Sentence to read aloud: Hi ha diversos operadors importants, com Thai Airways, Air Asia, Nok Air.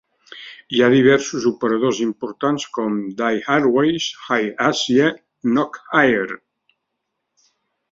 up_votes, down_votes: 1, 2